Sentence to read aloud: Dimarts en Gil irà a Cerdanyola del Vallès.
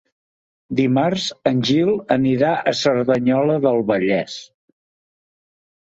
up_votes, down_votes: 1, 2